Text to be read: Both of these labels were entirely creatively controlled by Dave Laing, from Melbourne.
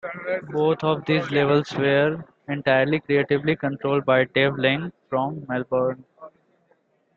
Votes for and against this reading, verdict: 2, 0, accepted